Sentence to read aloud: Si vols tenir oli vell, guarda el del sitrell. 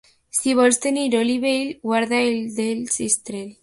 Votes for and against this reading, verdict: 0, 2, rejected